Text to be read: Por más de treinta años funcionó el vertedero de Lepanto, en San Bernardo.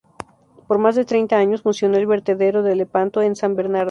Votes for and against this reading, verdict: 4, 0, accepted